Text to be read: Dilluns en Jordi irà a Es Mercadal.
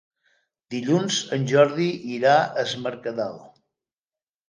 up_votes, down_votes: 3, 0